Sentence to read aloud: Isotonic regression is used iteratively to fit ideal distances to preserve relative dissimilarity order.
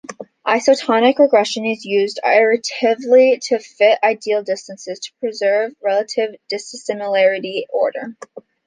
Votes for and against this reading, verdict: 0, 2, rejected